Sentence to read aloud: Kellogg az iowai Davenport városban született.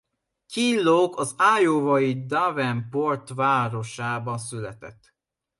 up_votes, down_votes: 1, 2